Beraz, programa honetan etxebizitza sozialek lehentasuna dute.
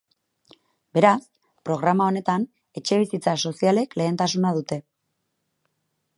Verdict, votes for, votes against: accepted, 2, 0